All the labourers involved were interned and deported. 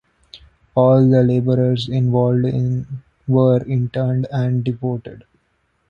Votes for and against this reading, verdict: 0, 2, rejected